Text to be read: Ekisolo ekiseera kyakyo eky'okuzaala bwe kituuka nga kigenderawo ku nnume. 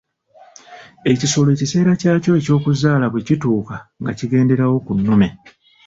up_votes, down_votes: 3, 0